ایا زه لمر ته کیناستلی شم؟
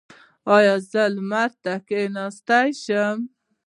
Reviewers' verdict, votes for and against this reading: accepted, 2, 1